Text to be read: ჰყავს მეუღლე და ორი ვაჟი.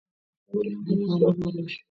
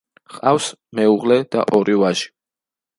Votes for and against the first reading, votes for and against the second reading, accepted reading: 0, 2, 2, 0, second